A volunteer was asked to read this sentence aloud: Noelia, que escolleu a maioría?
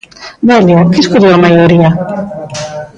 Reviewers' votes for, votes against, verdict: 0, 2, rejected